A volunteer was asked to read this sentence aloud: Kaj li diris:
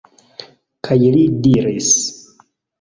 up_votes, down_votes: 2, 0